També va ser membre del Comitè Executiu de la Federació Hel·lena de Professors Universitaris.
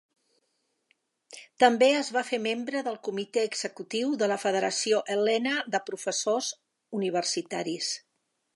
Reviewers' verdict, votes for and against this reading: rejected, 1, 2